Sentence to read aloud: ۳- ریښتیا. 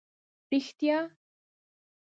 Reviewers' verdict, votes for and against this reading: rejected, 0, 2